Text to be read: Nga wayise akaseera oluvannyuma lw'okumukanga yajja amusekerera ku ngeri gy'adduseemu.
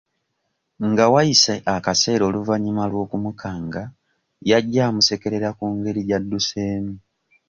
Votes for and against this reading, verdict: 2, 0, accepted